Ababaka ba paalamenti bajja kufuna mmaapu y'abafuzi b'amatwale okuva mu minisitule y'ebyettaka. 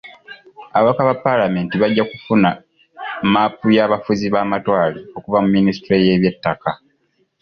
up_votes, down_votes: 2, 0